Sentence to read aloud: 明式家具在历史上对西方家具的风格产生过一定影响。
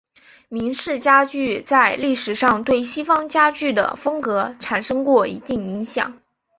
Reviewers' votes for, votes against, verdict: 2, 0, accepted